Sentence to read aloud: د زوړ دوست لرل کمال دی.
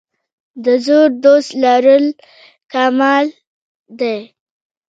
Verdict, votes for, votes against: accepted, 2, 1